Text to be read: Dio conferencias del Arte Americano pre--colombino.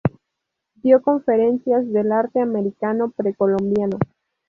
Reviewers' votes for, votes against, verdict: 0, 2, rejected